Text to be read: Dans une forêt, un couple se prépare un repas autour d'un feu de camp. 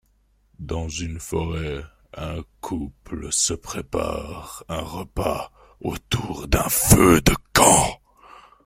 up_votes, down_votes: 0, 2